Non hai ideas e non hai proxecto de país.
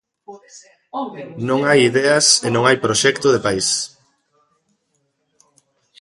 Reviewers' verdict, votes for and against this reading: accepted, 2, 1